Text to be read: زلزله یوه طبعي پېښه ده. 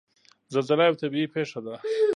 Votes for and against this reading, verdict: 2, 0, accepted